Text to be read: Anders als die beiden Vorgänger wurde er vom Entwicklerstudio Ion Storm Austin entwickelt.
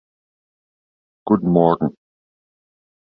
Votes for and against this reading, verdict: 0, 2, rejected